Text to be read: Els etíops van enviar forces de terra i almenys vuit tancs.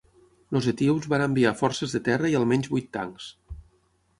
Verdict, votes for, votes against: accepted, 6, 3